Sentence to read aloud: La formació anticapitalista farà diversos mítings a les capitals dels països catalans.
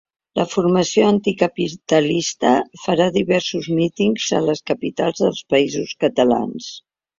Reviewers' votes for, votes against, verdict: 3, 0, accepted